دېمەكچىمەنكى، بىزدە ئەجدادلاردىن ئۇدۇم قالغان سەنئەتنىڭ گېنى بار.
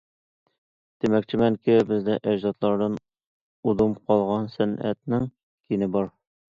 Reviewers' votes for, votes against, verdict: 2, 0, accepted